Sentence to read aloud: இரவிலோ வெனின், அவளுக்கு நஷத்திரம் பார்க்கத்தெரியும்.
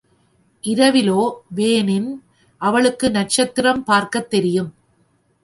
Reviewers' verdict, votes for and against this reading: rejected, 1, 2